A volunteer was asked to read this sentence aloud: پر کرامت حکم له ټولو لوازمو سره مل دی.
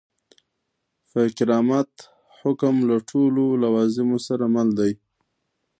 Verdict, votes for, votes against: accepted, 2, 0